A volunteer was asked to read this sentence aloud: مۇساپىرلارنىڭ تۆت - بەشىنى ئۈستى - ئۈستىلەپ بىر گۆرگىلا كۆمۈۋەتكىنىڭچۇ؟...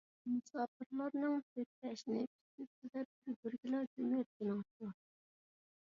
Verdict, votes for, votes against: rejected, 1, 2